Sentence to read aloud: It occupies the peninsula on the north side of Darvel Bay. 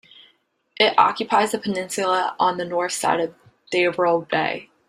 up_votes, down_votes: 0, 2